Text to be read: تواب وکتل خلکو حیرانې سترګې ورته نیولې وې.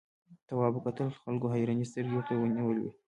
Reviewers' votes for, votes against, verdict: 2, 0, accepted